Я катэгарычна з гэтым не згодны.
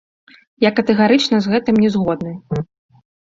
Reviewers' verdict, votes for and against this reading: accepted, 2, 0